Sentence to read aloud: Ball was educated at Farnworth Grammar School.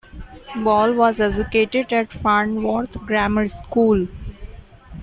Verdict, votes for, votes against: rejected, 1, 2